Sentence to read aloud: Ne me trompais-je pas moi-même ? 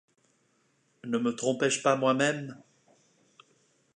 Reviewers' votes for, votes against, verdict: 2, 0, accepted